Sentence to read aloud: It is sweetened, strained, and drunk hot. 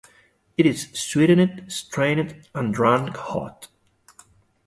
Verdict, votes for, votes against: rejected, 0, 2